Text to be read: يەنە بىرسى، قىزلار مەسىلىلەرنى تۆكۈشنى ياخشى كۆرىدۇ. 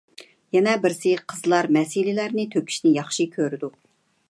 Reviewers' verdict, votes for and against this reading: accepted, 2, 0